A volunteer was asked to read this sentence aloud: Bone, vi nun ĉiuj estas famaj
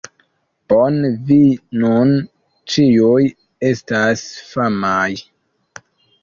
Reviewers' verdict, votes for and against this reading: accepted, 2, 1